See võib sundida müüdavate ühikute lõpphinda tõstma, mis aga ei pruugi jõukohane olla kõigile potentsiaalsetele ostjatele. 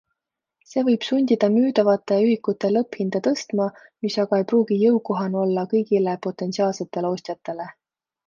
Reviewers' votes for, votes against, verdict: 2, 0, accepted